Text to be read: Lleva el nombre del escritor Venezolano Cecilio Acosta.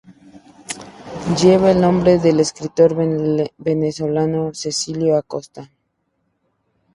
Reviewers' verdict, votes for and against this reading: rejected, 0, 2